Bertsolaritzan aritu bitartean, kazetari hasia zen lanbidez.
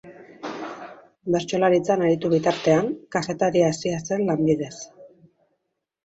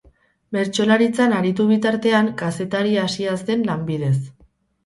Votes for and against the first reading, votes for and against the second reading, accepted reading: 2, 0, 0, 2, first